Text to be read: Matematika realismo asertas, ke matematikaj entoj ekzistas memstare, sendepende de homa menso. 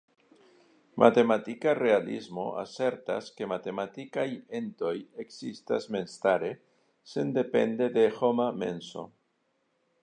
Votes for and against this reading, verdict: 1, 2, rejected